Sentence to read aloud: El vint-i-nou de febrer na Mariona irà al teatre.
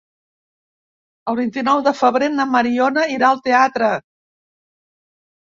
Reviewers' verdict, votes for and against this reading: accepted, 4, 0